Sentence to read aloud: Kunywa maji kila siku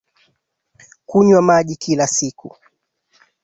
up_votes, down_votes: 9, 0